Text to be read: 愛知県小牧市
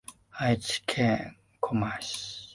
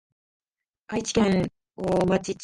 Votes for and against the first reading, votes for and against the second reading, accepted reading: 2, 1, 0, 2, first